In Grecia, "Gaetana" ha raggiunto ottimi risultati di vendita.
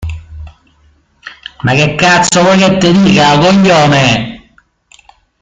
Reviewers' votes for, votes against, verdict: 0, 2, rejected